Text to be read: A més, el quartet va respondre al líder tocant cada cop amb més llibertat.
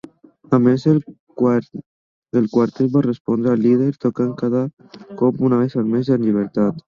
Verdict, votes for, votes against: rejected, 0, 2